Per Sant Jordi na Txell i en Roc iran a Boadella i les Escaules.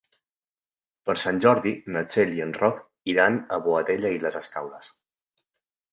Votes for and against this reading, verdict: 3, 0, accepted